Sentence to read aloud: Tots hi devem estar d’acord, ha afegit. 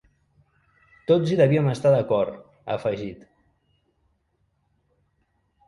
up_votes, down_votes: 0, 2